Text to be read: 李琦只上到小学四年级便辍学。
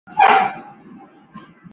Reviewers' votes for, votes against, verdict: 2, 1, accepted